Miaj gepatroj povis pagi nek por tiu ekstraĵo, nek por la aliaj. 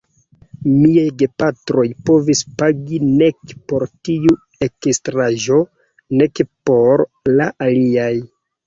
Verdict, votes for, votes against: accepted, 2, 1